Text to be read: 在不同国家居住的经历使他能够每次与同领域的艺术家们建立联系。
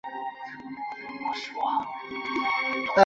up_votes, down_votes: 0, 3